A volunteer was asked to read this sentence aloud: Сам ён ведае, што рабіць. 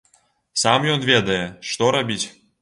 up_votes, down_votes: 2, 0